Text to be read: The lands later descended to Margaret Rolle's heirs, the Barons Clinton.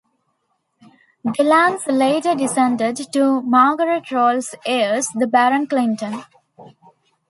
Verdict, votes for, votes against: rejected, 1, 2